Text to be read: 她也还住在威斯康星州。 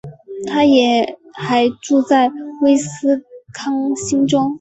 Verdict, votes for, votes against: accepted, 5, 0